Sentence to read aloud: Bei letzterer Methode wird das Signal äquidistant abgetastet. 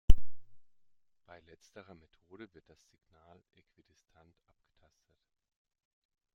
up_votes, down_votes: 2, 0